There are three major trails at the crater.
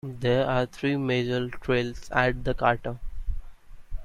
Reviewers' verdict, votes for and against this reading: accepted, 2, 1